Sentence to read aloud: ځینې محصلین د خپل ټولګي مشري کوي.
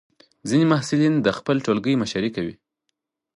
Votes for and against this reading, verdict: 4, 0, accepted